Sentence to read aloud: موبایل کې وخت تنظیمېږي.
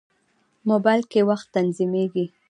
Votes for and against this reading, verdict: 1, 2, rejected